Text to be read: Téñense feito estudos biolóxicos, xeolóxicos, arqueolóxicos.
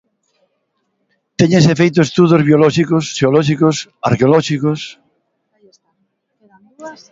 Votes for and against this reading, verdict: 4, 0, accepted